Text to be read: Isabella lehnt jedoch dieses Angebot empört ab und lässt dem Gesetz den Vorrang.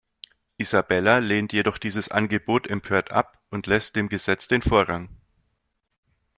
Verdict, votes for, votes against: accepted, 2, 0